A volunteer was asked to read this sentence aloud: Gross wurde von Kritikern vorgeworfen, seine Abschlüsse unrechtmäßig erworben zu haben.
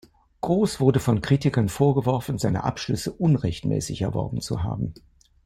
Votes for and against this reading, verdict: 2, 0, accepted